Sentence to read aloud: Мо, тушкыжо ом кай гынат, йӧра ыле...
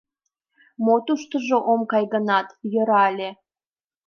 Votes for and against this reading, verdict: 1, 2, rejected